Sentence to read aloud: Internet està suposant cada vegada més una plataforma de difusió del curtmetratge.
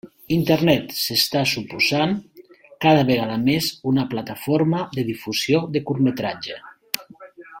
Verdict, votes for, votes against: rejected, 0, 2